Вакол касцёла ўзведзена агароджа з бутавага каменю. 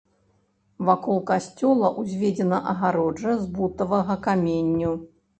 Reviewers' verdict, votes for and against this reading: rejected, 0, 2